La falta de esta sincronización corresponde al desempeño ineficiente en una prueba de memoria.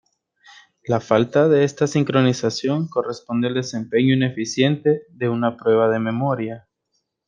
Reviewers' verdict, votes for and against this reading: rejected, 0, 2